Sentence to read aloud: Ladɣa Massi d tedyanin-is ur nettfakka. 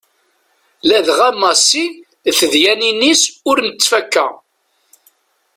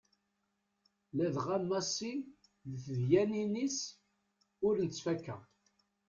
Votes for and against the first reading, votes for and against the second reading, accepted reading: 2, 0, 1, 2, first